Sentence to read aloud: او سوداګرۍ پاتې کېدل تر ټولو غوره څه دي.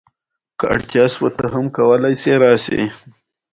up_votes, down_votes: 0, 2